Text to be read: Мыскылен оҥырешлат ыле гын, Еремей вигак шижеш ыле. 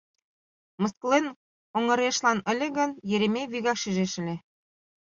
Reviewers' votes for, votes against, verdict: 1, 2, rejected